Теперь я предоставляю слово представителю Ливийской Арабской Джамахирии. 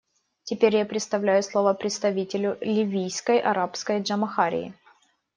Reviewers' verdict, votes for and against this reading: rejected, 1, 2